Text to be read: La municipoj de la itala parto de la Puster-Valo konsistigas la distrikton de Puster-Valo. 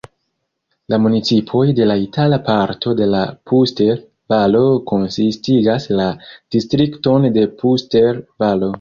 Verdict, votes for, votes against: accepted, 2, 1